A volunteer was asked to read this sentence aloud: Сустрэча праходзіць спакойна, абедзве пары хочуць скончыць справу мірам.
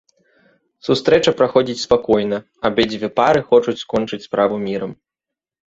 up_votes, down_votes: 2, 0